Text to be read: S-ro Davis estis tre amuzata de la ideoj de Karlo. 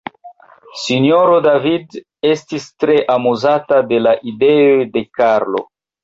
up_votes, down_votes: 0, 2